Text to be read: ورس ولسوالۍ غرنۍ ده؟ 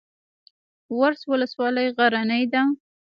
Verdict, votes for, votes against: rejected, 0, 2